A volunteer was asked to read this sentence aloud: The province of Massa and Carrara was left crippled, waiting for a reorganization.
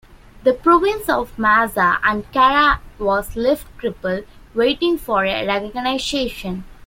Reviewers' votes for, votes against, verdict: 0, 2, rejected